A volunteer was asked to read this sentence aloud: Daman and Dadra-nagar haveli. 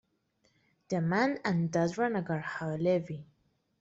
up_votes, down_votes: 2, 0